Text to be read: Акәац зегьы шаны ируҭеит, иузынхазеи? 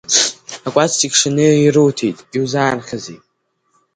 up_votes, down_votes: 1, 2